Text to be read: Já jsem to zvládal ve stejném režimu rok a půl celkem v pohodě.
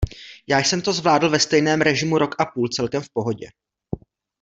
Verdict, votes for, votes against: rejected, 1, 2